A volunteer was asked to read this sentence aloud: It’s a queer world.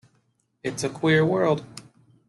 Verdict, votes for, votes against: accepted, 2, 0